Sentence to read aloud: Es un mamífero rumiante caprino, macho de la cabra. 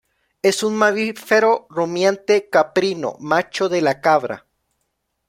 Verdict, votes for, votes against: rejected, 0, 2